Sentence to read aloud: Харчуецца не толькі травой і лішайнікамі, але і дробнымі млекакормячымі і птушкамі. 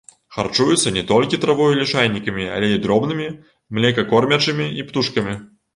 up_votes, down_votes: 2, 0